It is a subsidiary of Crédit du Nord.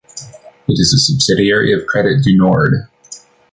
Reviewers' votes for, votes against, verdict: 1, 2, rejected